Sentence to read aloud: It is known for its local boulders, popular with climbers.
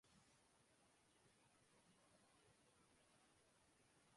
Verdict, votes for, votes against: rejected, 0, 2